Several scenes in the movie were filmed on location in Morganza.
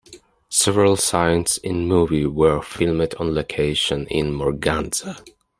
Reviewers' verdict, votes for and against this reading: accepted, 2, 1